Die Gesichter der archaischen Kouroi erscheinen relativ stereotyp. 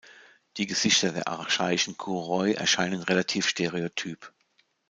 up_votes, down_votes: 2, 0